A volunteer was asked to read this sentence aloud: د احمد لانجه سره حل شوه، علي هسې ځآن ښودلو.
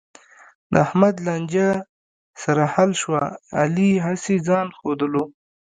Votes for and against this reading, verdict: 2, 1, accepted